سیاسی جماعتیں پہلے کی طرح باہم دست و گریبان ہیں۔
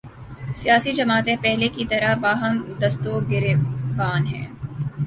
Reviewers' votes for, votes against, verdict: 1, 2, rejected